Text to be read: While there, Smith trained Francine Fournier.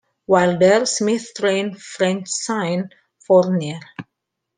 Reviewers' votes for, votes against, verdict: 2, 1, accepted